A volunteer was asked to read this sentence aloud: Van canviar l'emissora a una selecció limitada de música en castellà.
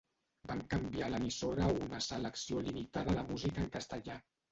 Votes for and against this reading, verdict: 0, 2, rejected